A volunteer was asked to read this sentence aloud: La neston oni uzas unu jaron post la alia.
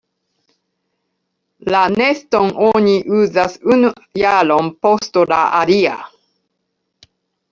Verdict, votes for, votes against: rejected, 0, 2